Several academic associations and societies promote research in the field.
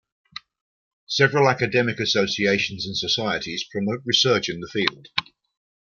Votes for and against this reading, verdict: 0, 2, rejected